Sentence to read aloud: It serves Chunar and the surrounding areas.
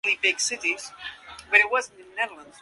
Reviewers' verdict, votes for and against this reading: rejected, 0, 2